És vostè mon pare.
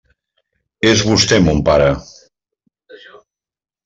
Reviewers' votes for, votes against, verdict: 3, 0, accepted